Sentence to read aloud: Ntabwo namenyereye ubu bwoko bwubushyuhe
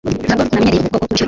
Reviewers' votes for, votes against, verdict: 0, 2, rejected